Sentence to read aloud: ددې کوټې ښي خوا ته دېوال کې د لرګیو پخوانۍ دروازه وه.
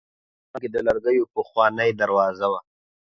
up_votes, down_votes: 0, 2